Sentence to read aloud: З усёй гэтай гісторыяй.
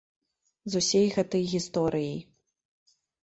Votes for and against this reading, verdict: 0, 2, rejected